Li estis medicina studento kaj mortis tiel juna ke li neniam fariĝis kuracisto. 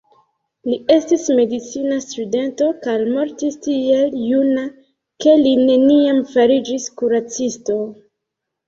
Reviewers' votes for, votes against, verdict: 1, 2, rejected